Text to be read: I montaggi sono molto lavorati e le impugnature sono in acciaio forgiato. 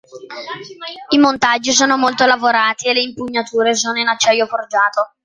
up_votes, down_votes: 2, 0